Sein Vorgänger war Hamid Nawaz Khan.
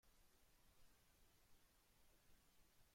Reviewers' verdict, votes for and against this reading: rejected, 0, 2